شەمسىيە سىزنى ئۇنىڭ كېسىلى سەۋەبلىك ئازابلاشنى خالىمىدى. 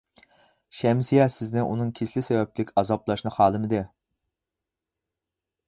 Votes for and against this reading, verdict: 4, 0, accepted